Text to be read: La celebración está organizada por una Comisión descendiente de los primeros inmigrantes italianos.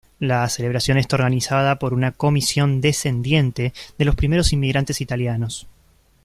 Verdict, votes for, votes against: accepted, 2, 0